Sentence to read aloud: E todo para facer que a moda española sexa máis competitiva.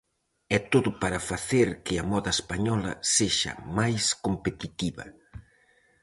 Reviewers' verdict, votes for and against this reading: accepted, 4, 0